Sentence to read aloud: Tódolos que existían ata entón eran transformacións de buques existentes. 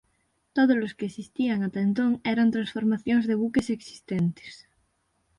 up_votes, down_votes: 6, 0